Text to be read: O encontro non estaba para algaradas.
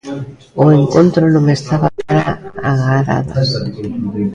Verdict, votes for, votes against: rejected, 0, 2